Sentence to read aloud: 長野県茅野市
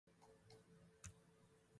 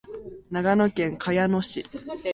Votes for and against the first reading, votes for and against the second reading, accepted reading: 0, 2, 13, 0, second